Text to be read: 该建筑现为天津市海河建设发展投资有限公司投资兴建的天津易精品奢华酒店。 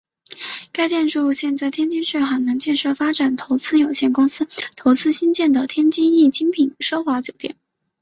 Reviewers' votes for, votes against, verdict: 2, 0, accepted